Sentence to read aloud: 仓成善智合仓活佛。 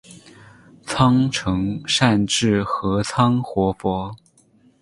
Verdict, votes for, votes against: accepted, 8, 0